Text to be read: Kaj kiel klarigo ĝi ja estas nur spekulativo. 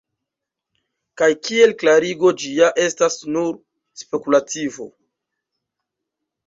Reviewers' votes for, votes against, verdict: 0, 2, rejected